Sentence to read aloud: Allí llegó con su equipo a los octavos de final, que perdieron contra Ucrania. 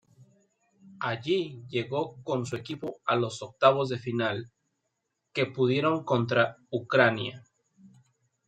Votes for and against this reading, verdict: 0, 2, rejected